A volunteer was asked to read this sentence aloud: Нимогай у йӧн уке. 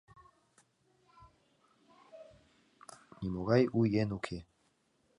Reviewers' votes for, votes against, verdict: 2, 0, accepted